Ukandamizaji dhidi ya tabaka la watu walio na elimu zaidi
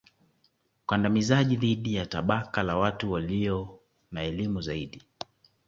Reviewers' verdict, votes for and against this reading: accepted, 2, 0